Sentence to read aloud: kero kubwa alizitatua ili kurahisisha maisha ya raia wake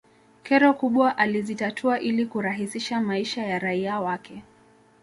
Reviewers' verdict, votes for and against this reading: rejected, 0, 2